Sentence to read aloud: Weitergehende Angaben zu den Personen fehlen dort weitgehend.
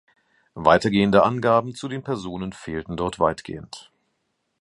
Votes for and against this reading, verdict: 1, 2, rejected